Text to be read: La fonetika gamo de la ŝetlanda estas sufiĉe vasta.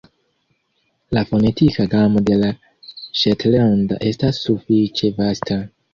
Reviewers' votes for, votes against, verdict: 2, 1, accepted